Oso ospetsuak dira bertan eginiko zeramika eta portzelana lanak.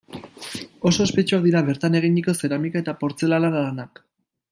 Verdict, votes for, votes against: rejected, 1, 2